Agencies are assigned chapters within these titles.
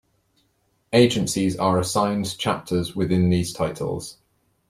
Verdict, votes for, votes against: accepted, 2, 0